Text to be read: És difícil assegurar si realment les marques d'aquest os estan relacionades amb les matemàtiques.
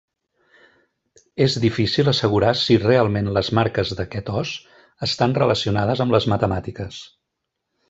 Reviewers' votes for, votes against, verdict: 3, 1, accepted